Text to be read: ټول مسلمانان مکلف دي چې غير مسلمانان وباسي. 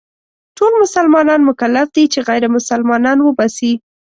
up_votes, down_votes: 2, 0